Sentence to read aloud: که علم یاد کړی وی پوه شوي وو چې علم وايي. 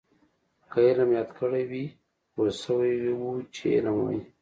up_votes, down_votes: 2, 0